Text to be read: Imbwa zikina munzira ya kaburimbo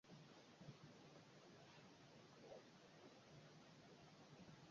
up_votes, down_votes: 0, 2